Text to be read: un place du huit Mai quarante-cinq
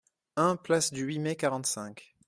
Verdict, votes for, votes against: accepted, 2, 0